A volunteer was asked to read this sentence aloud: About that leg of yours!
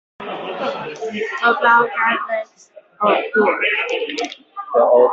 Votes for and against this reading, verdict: 0, 3, rejected